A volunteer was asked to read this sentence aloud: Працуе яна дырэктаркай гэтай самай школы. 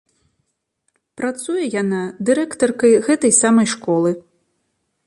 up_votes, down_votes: 2, 0